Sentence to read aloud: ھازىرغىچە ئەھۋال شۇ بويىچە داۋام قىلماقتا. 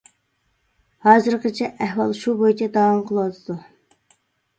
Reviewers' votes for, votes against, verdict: 0, 2, rejected